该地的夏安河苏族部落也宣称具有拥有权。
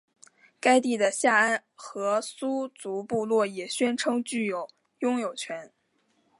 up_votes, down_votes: 5, 0